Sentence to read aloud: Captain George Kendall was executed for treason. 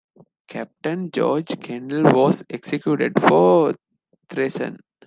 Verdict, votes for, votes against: accepted, 2, 0